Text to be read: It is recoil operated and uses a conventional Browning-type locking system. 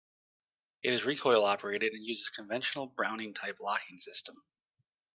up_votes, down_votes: 2, 0